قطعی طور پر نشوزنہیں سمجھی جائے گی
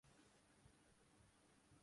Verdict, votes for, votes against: rejected, 3, 4